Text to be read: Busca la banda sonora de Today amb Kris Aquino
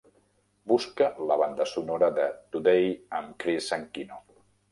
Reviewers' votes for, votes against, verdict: 0, 2, rejected